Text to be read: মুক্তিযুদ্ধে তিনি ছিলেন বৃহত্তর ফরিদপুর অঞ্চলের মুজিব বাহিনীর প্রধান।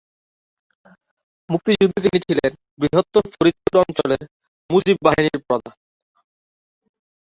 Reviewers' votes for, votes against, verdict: 0, 2, rejected